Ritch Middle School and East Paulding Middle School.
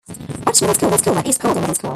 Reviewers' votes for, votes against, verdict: 1, 2, rejected